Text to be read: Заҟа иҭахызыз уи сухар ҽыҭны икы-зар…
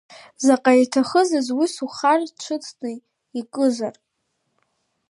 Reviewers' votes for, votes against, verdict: 0, 2, rejected